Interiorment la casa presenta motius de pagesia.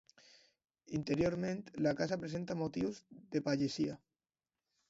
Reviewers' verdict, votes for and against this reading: accepted, 2, 0